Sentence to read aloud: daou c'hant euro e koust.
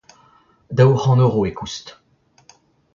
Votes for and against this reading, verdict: 2, 1, accepted